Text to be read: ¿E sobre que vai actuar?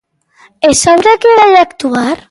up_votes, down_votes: 2, 0